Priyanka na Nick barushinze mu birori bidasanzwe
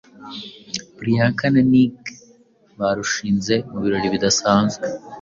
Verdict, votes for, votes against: accepted, 2, 0